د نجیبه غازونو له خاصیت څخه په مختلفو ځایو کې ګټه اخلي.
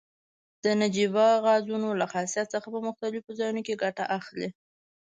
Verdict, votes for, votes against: rejected, 1, 2